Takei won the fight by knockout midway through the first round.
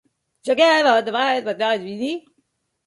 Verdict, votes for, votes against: rejected, 0, 2